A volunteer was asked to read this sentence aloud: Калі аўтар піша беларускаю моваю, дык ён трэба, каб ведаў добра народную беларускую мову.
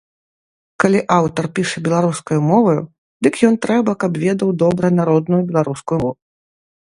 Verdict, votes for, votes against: rejected, 1, 2